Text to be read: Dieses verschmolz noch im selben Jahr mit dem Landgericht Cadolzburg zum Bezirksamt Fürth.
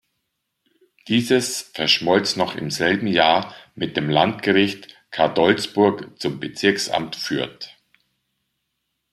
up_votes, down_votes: 2, 0